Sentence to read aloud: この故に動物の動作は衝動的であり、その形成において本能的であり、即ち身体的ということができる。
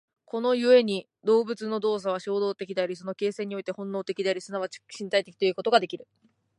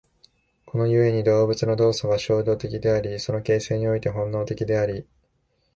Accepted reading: first